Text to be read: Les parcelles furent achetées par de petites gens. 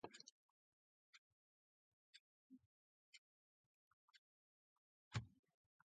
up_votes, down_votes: 0, 2